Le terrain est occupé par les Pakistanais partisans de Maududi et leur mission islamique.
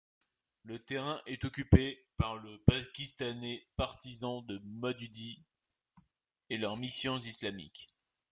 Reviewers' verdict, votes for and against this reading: rejected, 0, 2